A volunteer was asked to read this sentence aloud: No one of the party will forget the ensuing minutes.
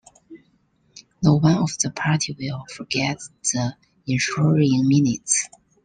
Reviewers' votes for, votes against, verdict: 1, 2, rejected